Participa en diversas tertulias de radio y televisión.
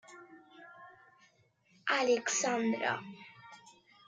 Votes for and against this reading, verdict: 0, 2, rejected